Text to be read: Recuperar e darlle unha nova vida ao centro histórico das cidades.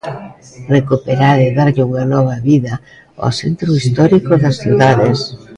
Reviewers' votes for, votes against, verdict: 1, 2, rejected